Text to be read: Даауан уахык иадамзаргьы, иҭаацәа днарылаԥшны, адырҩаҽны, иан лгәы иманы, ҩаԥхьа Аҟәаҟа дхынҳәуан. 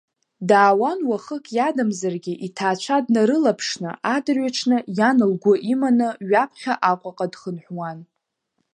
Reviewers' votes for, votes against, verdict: 2, 1, accepted